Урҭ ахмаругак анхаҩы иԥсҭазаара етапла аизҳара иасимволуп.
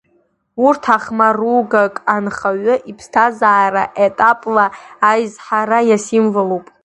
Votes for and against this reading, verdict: 2, 0, accepted